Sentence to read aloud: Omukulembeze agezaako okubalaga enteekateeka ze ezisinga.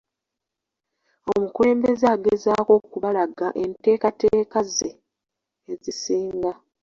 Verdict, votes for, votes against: rejected, 0, 2